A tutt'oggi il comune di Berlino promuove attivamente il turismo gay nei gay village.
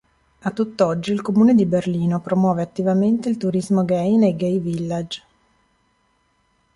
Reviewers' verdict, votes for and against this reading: accepted, 2, 0